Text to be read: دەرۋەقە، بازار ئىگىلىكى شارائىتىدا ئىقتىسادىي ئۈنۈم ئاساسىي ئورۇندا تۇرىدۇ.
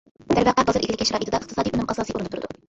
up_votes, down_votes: 1, 2